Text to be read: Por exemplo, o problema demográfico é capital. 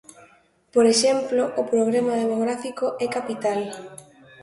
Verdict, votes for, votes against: accepted, 2, 0